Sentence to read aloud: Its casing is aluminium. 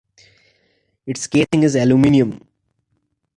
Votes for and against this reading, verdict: 2, 0, accepted